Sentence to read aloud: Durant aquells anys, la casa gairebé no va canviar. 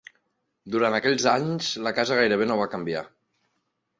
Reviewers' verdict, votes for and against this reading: accepted, 2, 0